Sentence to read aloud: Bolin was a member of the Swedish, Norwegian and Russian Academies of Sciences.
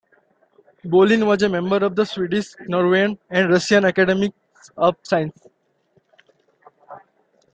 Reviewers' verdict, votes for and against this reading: accepted, 2, 0